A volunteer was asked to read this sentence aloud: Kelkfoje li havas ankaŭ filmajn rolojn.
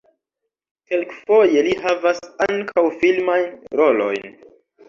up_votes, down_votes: 0, 2